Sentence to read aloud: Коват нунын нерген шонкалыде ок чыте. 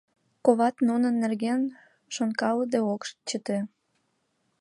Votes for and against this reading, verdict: 2, 0, accepted